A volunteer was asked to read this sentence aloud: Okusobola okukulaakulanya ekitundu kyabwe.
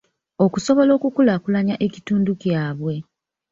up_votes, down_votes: 1, 2